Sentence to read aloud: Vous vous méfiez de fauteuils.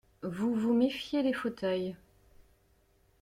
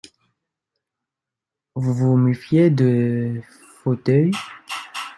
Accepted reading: second